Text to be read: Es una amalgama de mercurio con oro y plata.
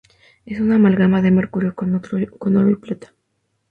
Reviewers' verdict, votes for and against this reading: rejected, 0, 2